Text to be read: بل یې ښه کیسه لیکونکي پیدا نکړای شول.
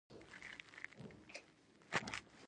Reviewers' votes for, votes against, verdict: 0, 2, rejected